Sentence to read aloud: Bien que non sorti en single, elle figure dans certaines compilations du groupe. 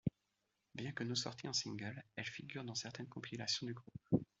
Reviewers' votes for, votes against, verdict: 2, 1, accepted